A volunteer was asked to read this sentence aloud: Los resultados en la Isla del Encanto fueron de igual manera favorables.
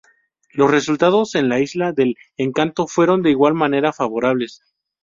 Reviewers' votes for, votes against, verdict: 0, 2, rejected